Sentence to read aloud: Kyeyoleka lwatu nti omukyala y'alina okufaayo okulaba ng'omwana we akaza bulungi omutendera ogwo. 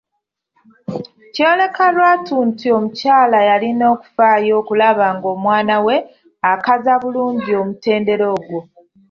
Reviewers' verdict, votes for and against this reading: accepted, 2, 0